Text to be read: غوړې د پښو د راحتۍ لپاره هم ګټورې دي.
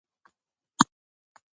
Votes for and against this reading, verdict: 1, 2, rejected